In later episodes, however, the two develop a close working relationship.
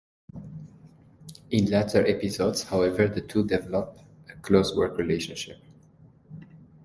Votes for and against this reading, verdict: 1, 2, rejected